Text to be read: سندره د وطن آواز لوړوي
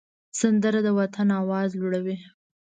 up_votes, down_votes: 3, 0